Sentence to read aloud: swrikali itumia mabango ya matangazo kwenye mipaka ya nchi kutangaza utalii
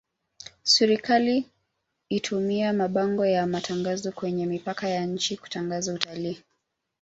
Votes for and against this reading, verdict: 2, 1, accepted